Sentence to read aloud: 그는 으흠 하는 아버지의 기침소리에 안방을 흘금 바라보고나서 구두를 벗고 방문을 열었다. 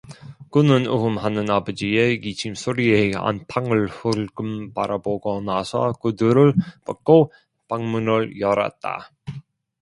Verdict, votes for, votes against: rejected, 0, 2